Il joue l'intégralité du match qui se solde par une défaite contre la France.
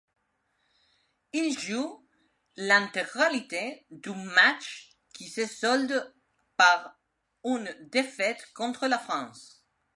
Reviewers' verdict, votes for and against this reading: rejected, 1, 2